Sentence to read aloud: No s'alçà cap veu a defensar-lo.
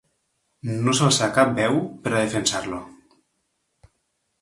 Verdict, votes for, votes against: rejected, 1, 2